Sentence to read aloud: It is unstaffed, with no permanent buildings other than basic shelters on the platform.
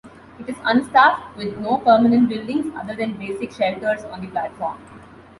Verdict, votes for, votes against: accepted, 2, 0